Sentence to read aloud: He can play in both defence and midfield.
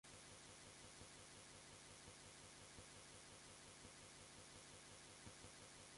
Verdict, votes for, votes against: rejected, 0, 2